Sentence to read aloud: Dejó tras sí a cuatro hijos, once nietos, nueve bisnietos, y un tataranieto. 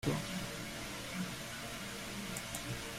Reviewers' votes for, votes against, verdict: 0, 2, rejected